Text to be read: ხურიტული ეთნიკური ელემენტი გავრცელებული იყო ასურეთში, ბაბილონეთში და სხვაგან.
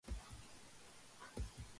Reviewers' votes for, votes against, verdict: 0, 2, rejected